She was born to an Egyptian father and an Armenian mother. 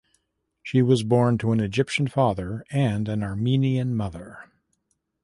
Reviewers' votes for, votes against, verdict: 2, 0, accepted